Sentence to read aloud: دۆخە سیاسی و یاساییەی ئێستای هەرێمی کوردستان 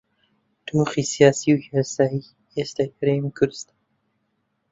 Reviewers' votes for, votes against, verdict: 0, 2, rejected